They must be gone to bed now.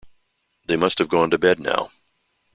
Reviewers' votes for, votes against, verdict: 2, 3, rejected